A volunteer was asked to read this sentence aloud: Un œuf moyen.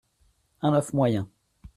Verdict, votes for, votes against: accepted, 2, 1